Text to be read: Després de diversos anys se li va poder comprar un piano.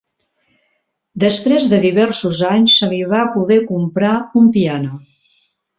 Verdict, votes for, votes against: accepted, 2, 0